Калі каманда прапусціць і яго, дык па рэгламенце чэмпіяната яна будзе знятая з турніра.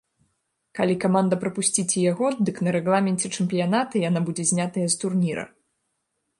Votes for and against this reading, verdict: 0, 2, rejected